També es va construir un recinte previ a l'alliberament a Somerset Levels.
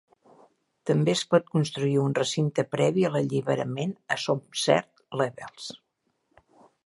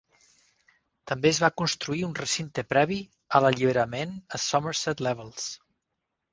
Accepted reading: second